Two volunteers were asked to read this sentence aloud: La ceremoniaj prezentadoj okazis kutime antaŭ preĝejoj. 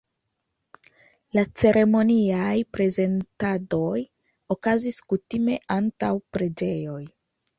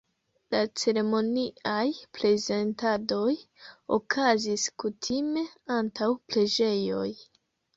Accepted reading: first